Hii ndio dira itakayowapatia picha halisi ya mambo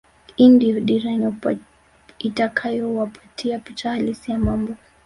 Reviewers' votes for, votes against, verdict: 0, 2, rejected